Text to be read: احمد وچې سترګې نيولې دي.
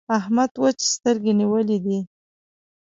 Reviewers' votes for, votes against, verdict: 2, 0, accepted